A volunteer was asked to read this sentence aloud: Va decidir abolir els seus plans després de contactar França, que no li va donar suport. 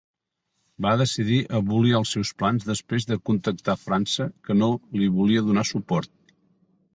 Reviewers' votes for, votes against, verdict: 0, 2, rejected